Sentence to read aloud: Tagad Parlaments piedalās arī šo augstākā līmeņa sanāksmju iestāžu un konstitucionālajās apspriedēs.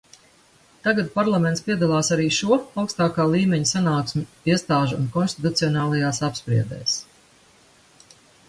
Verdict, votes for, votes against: accepted, 2, 0